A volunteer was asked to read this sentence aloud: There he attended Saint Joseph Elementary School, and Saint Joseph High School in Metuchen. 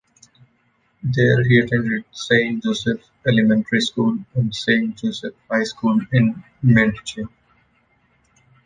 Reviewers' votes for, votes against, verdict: 0, 2, rejected